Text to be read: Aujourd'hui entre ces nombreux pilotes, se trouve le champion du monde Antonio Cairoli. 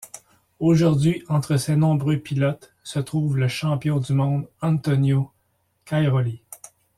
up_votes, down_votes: 1, 2